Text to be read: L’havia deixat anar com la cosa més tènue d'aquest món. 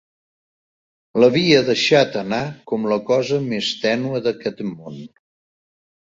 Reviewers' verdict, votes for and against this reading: rejected, 1, 2